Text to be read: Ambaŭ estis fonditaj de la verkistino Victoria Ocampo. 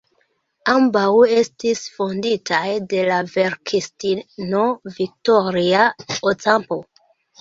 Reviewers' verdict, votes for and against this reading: rejected, 1, 2